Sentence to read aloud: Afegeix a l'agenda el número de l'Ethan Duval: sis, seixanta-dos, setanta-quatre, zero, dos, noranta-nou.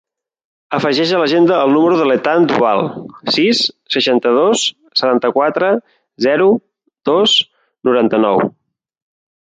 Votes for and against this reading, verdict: 2, 0, accepted